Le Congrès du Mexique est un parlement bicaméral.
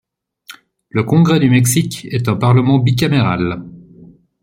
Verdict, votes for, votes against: accepted, 2, 0